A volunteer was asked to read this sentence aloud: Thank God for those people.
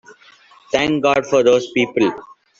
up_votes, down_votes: 2, 1